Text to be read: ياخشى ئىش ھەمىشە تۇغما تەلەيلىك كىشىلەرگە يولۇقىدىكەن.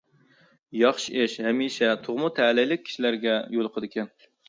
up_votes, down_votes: 2, 0